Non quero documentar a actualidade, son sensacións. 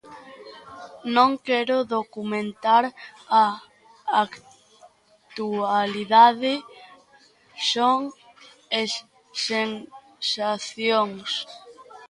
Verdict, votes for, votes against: rejected, 0, 4